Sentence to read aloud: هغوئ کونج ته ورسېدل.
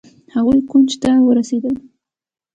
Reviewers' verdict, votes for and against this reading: accepted, 3, 0